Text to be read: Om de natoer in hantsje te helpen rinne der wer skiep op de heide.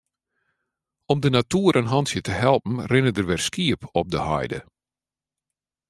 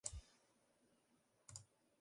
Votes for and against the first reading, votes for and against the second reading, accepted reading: 2, 0, 0, 2, first